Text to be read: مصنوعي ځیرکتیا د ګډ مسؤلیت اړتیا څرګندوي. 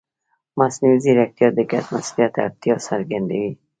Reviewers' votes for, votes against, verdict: 2, 0, accepted